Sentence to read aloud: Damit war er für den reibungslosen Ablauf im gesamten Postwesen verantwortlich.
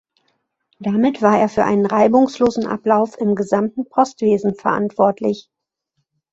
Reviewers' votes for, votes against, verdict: 4, 2, accepted